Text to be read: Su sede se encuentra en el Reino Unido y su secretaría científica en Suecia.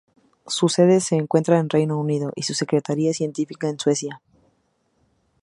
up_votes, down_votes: 0, 2